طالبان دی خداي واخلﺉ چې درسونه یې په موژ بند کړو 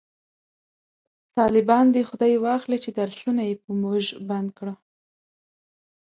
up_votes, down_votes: 2, 0